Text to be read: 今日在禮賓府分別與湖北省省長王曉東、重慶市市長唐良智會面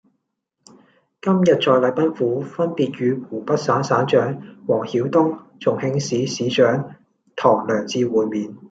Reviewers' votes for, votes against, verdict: 2, 0, accepted